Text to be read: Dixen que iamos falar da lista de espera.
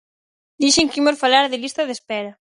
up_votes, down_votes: 0, 4